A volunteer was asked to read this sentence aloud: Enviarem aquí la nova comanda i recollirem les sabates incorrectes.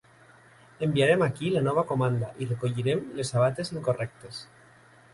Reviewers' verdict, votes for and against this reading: rejected, 1, 2